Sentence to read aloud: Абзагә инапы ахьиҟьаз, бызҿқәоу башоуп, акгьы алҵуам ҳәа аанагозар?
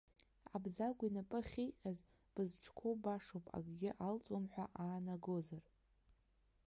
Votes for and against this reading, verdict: 1, 2, rejected